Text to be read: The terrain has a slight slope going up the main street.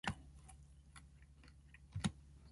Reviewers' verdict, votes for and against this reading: rejected, 0, 2